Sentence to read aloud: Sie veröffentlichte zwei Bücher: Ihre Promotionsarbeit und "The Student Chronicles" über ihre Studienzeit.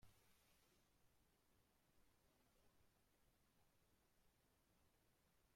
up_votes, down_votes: 0, 2